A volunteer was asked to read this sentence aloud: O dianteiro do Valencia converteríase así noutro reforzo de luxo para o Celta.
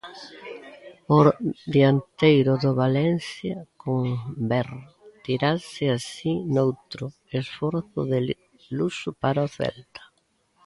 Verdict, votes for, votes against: rejected, 0, 2